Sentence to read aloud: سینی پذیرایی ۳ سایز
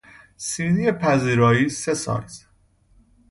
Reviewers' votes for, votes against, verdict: 0, 2, rejected